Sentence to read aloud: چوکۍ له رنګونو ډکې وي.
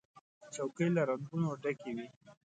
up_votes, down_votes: 2, 1